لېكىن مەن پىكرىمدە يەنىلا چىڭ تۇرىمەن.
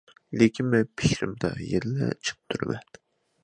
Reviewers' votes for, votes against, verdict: 1, 2, rejected